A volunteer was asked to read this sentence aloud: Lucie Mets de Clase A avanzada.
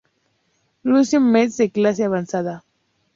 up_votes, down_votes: 0, 2